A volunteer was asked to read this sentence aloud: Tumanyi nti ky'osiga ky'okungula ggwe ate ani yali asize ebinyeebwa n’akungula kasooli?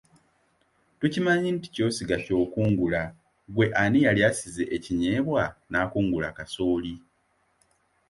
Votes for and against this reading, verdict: 1, 2, rejected